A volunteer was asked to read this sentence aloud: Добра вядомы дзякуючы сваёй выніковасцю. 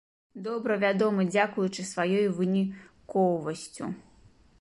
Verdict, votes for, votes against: rejected, 0, 2